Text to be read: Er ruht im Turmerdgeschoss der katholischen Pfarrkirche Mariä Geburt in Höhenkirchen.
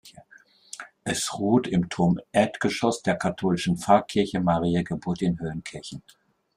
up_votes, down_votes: 1, 2